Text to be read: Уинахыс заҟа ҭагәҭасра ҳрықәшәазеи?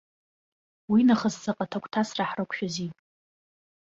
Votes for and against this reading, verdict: 2, 0, accepted